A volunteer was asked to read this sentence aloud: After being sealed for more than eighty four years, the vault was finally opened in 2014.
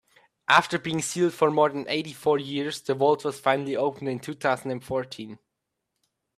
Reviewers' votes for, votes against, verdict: 0, 2, rejected